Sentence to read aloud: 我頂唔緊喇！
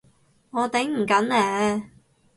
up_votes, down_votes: 0, 4